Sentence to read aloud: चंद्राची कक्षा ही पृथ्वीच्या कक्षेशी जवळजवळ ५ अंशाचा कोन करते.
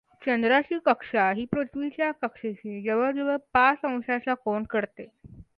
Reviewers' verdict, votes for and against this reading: rejected, 0, 2